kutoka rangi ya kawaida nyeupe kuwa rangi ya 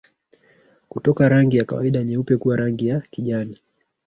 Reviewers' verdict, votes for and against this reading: rejected, 0, 2